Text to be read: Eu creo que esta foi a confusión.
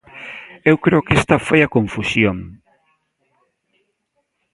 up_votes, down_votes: 2, 0